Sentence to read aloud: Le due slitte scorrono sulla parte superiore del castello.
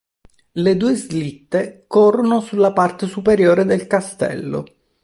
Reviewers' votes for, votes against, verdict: 1, 2, rejected